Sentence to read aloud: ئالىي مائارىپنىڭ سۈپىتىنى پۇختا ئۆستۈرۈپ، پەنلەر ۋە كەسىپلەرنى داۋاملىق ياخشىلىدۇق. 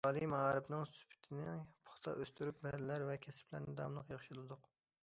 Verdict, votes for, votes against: accepted, 2, 0